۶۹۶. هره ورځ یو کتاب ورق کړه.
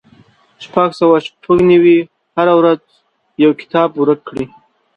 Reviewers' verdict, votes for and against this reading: rejected, 0, 2